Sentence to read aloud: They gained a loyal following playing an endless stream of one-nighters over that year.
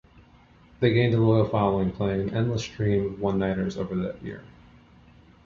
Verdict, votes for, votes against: accepted, 2, 0